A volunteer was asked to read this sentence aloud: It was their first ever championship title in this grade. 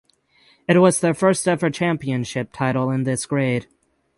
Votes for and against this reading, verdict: 12, 0, accepted